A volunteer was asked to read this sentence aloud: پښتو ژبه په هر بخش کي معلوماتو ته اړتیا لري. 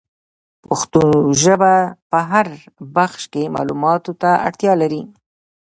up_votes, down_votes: 2, 1